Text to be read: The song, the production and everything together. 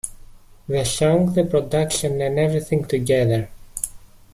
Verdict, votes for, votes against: accepted, 2, 0